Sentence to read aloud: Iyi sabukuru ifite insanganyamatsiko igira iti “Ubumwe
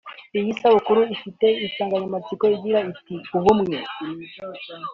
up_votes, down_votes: 2, 0